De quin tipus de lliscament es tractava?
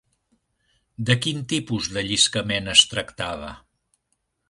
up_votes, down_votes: 2, 0